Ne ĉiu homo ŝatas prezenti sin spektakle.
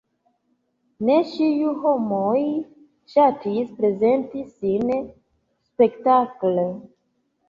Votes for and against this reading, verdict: 0, 2, rejected